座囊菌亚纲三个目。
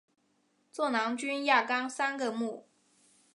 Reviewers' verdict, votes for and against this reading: accepted, 2, 1